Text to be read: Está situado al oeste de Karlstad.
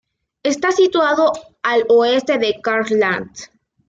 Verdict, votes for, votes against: rejected, 0, 2